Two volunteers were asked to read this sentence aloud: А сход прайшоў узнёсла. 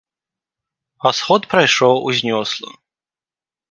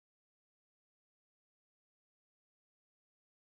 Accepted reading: first